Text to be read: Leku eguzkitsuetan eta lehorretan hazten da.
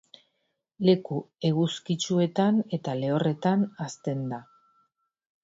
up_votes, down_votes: 2, 0